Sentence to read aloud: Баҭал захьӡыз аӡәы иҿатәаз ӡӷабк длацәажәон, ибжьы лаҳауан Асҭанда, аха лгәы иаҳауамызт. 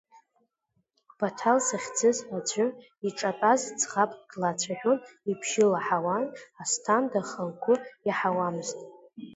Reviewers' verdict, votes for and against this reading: accepted, 2, 0